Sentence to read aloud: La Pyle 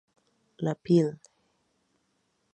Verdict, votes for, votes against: rejected, 0, 2